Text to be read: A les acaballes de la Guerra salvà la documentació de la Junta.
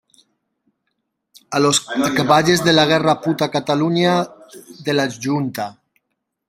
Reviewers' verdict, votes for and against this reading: rejected, 0, 2